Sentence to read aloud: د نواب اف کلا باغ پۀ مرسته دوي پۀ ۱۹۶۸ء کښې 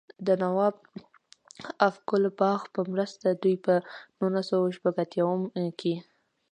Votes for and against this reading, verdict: 0, 2, rejected